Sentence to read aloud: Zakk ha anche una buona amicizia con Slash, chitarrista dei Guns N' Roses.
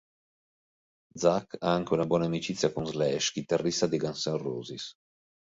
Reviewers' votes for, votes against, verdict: 3, 0, accepted